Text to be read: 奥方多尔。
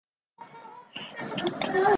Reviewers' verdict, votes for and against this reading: rejected, 1, 3